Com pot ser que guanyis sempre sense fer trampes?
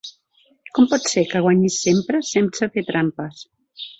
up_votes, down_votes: 1, 2